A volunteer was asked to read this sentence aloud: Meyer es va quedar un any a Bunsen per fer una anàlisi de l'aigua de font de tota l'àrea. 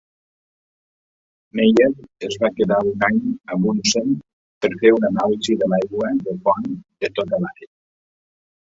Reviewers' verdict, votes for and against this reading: rejected, 1, 2